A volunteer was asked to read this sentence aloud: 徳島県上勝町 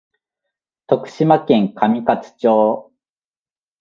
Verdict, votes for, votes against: accepted, 2, 0